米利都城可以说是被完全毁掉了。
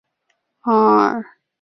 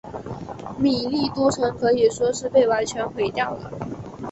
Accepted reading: second